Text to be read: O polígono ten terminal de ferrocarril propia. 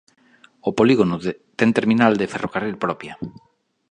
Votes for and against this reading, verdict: 1, 3, rejected